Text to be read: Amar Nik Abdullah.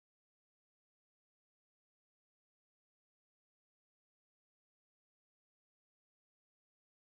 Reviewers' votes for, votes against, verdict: 0, 2, rejected